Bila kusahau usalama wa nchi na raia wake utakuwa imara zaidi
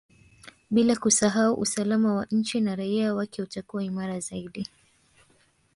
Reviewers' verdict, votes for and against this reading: rejected, 1, 2